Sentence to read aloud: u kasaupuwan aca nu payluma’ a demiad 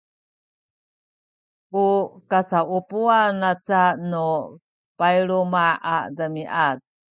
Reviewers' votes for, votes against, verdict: 2, 0, accepted